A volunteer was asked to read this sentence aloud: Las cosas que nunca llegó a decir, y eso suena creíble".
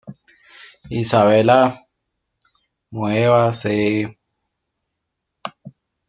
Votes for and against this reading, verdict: 0, 2, rejected